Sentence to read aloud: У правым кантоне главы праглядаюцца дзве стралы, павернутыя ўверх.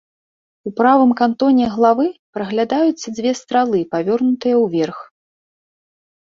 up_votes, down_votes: 1, 2